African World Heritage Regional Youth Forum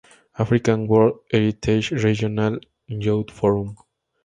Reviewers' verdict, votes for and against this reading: rejected, 0, 4